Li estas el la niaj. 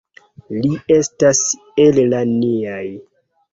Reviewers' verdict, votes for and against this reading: rejected, 1, 2